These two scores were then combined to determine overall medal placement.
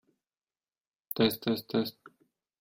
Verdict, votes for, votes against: rejected, 0, 2